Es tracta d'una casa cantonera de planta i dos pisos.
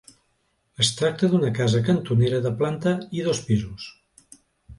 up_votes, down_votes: 2, 0